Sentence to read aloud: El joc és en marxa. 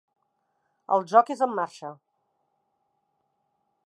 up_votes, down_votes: 3, 0